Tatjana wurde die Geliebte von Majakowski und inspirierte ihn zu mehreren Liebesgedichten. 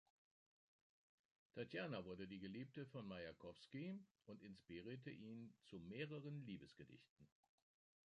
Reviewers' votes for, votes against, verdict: 1, 2, rejected